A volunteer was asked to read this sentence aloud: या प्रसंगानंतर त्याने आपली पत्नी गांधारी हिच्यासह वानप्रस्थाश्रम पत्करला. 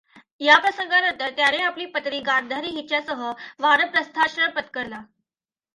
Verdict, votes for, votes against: accepted, 2, 0